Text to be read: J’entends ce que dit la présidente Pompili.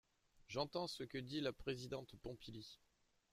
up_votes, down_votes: 0, 2